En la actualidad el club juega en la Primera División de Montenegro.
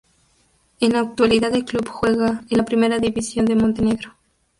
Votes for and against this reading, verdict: 2, 0, accepted